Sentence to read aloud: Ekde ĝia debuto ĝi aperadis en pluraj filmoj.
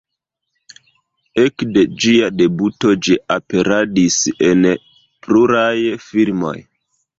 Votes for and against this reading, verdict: 0, 2, rejected